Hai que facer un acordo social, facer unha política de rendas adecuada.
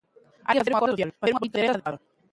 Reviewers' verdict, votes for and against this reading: rejected, 0, 2